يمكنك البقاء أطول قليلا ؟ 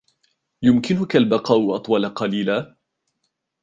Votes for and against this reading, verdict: 2, 0, accepted